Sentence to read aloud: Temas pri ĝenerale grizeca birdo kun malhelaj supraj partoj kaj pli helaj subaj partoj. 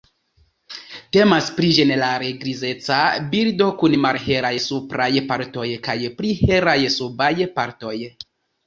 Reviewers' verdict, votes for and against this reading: accepted, 2, 0